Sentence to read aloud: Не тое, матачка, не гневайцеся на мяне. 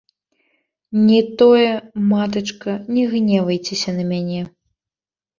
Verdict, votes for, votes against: rejected, 0, 2